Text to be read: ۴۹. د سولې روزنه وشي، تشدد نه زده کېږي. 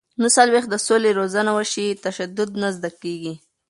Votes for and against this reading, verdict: 0, 2, rejected